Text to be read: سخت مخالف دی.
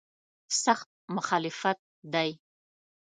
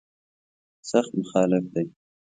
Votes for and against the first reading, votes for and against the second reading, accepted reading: 0, 2, 2, 0, second